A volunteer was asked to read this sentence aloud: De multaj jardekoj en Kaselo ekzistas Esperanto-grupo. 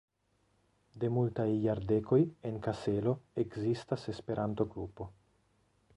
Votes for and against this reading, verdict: 1, 2, rejected